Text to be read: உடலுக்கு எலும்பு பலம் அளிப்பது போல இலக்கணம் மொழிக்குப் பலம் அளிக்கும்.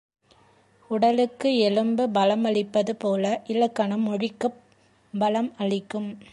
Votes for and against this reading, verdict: 1, 2, rejected